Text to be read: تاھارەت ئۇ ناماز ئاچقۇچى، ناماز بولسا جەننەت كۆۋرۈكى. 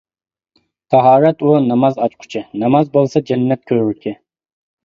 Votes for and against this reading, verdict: 2, 1, accepted